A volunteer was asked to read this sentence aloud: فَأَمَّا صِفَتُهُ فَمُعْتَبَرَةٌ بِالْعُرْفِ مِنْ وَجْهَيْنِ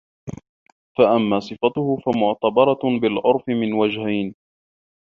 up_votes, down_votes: 1, 2